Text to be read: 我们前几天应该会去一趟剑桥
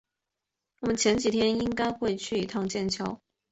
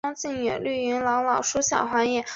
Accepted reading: first